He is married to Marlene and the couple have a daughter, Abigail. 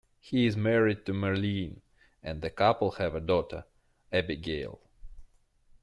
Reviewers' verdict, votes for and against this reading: accepted, 2, 1